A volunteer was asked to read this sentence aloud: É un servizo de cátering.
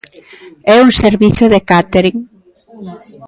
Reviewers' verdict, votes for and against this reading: rejected, 1, 2